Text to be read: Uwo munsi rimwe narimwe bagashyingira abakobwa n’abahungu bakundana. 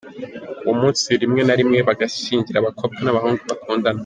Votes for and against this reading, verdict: 2, 1, accepted